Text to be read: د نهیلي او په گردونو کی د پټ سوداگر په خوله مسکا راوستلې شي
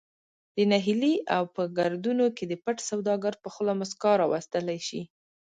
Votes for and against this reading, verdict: 2, 0, accepted